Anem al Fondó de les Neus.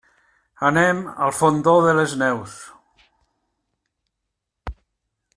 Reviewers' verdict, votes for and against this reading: accepted, 3, 0